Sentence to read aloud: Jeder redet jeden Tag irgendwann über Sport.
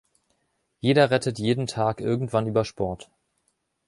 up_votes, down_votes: 0, 2